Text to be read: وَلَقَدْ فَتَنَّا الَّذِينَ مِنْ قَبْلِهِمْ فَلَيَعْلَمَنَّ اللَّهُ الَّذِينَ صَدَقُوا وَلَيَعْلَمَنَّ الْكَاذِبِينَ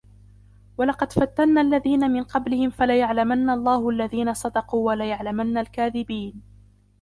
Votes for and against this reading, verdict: 0, 2, rejected